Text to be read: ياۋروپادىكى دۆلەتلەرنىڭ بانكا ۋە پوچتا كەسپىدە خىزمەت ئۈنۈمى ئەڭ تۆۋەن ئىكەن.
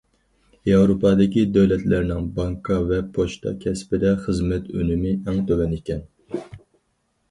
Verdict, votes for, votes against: accepted, 4, 0